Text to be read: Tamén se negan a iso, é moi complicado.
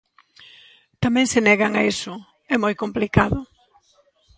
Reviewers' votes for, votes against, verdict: 0, 2, rejected